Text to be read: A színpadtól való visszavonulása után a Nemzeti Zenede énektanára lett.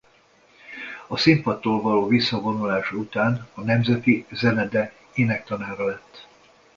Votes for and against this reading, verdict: 2, 0, accepted